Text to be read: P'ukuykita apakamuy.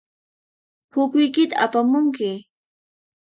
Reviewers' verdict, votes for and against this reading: rejected, 2, 4